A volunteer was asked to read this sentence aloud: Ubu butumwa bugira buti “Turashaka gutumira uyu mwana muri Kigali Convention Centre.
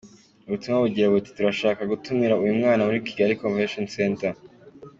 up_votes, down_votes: 2, 0